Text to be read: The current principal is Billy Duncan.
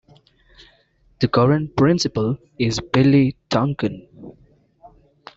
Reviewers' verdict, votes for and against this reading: accepted, 2, 0